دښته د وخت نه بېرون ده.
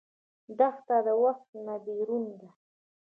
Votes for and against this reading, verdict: 2, 0, accepted